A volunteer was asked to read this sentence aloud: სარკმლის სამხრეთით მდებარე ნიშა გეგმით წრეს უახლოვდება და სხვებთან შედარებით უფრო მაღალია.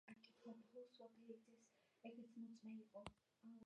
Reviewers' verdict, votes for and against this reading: rejected, 1, 2